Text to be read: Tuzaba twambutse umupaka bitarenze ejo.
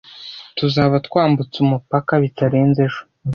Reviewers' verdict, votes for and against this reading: accepted, 2, 0